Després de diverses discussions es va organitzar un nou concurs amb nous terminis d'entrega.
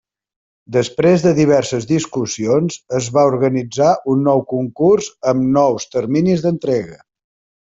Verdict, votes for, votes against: accepted, 4, 0